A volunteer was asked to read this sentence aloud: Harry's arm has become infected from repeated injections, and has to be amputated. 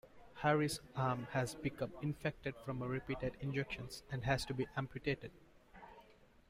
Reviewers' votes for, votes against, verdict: 2, 0, accepted